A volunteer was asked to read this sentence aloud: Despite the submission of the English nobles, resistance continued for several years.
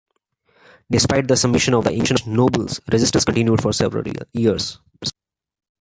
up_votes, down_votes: 1, 3